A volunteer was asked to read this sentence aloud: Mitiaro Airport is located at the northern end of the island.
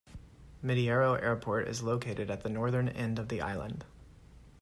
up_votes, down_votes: 2, 0